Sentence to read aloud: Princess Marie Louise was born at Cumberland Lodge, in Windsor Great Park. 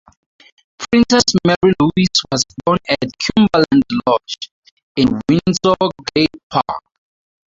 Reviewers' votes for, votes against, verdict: 2, 4, rejected